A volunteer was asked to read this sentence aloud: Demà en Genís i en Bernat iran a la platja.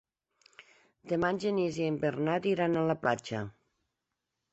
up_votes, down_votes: 3, 0